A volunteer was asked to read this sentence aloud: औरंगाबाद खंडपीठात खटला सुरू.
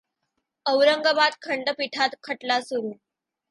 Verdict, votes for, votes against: accepted, 2, 0